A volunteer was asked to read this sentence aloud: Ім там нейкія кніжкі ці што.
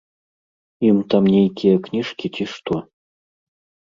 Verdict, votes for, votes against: rejected, 1, 2